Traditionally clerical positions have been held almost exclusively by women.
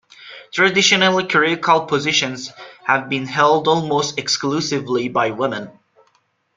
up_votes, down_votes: 2, 0